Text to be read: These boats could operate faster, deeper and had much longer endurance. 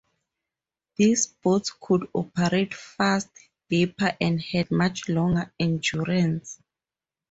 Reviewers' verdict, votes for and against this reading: rejected, 0, 2